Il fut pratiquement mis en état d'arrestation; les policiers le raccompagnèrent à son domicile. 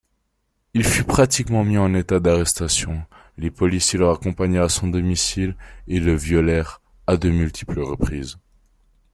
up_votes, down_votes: 0, 2